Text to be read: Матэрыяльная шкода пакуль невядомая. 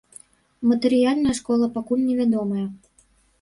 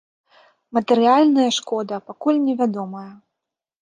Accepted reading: second